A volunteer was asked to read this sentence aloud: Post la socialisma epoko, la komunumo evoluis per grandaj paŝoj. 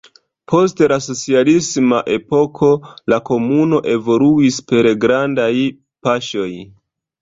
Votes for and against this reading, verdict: 0, 2, rejected